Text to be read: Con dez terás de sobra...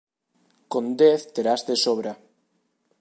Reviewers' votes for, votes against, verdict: 2, 0, accepted